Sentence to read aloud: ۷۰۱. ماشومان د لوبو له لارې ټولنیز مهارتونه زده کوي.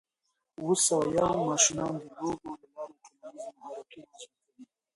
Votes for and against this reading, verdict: 0, 2, rejected